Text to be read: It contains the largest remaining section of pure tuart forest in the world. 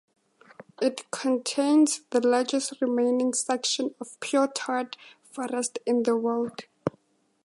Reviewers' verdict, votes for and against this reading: accepted, 2, 0